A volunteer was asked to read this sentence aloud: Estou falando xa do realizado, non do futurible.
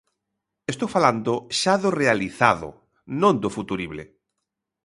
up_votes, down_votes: 2, 0